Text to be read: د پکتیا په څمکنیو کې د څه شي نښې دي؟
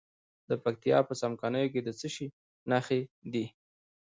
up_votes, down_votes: 1, 2